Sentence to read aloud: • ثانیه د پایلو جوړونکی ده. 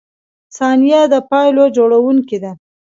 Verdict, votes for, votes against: rejected, 1, 2